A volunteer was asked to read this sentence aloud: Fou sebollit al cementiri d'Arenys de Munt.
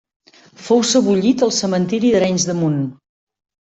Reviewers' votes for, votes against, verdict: 2, 0, accepted